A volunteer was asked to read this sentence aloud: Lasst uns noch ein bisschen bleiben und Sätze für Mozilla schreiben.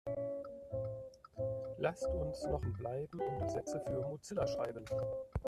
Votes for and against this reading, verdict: 0, 2, rejected